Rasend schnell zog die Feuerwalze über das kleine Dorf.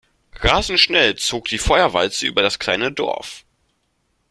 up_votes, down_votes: 2, 0